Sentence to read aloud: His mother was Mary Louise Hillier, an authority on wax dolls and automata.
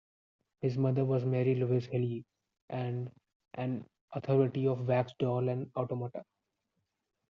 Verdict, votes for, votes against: rejected, 0, 2